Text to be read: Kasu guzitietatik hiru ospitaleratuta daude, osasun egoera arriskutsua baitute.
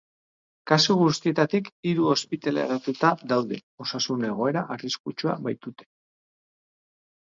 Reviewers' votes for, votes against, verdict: 4, 4, rejected